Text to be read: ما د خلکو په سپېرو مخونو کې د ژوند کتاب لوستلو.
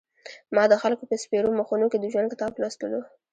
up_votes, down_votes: 1, 2